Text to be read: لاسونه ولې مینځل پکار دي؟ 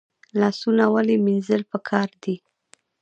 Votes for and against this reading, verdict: 2, 3, rejected